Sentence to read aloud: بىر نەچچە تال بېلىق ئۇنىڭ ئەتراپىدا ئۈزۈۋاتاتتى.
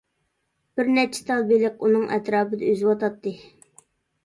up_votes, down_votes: 2, 0